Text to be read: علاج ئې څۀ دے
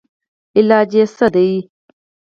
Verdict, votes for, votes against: rejected, 0, 4